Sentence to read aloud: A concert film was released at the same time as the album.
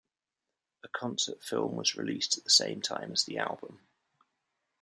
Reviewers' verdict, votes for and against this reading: accepted, 2, 0